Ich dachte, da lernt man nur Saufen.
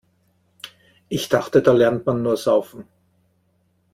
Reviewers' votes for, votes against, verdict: 2, 0, accepted